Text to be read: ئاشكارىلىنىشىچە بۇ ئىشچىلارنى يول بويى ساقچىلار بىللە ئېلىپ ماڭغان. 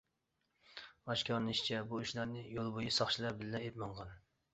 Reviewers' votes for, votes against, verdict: 0, 2, rejected